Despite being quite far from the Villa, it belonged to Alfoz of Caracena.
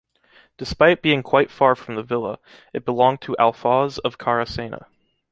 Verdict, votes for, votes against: accepted, 2, 0